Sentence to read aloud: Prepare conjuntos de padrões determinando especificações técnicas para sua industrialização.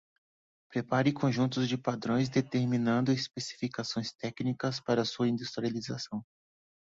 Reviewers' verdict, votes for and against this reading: accepted, 2, 0